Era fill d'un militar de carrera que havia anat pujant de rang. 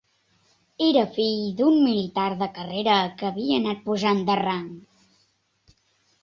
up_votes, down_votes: 3, 0